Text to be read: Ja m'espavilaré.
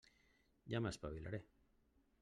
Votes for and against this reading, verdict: 1, 2, rejected